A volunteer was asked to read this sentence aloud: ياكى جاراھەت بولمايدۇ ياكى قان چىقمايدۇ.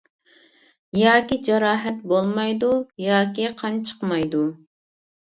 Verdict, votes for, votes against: accepted, 2, 0